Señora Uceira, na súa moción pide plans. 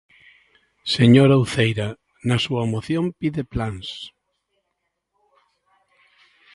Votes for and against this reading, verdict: 0, 2, rejected